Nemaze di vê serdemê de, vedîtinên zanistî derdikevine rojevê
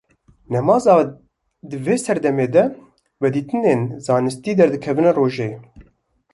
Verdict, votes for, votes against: rejected, 1, 2